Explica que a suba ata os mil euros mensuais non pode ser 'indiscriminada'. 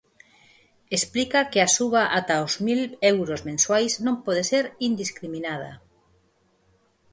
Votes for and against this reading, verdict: 4, 0, accepted